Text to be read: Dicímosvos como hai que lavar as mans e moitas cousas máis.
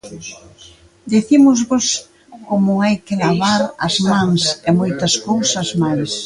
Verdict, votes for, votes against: accepted, 2, 1